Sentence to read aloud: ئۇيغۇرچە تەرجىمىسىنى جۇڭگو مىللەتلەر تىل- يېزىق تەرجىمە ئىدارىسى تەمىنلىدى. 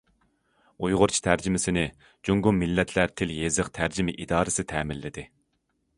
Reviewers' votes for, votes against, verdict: 2, 0, accepted